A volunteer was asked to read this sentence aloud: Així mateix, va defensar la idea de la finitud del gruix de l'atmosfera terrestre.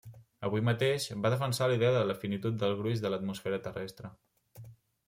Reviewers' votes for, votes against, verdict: 0, 2, rejected